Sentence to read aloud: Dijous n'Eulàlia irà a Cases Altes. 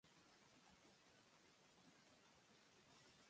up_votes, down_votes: 0, 3